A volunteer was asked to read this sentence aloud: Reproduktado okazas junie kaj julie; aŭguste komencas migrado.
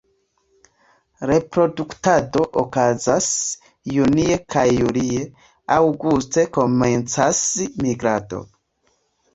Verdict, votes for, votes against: accepted, 2, 1